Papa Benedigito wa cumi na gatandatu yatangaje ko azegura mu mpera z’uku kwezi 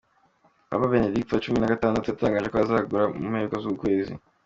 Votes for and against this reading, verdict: 2, 1, accepted